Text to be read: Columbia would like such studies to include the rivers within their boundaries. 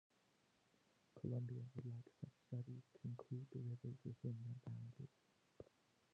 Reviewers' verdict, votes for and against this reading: rejected, 0, 2